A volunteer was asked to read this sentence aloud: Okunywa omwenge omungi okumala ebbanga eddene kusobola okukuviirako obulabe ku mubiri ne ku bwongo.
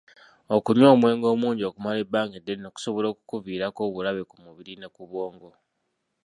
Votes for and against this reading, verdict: 0, 2, rejected